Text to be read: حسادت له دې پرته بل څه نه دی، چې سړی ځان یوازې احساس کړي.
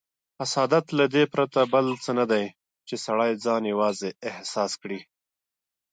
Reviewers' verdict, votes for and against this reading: accepted, 2, 0